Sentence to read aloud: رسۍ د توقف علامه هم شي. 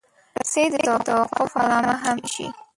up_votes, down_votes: 0, 2